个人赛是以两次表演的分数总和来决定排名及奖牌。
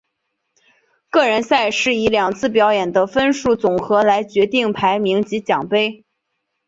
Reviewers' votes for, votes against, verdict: 1, 2, rejected